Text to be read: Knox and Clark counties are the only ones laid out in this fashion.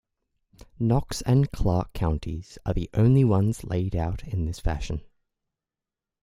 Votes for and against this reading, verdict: 2, 0, accepted